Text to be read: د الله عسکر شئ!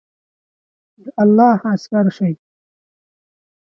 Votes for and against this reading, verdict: 4, 0, accepted